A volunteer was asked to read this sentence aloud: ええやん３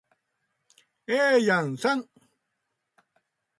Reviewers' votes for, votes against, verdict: 0, 2, rejected